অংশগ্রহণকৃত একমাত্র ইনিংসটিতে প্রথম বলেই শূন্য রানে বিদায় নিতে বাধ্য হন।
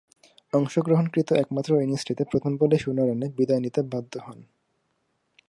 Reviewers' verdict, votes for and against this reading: rejected, 0, 2